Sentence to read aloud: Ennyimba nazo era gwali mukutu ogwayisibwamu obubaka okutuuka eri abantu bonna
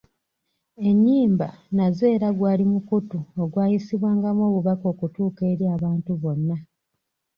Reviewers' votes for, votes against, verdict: 2, 0, accepted